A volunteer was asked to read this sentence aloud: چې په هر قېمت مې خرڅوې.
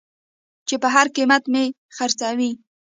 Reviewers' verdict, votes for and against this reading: rejected, 0, 2